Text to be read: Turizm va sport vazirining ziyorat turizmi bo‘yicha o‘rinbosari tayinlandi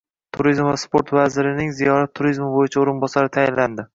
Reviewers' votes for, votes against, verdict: 2, 0, accepted